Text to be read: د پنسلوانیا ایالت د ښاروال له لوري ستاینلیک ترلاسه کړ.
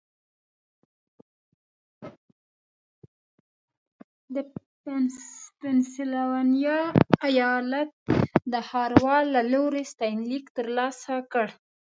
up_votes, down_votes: 0, 2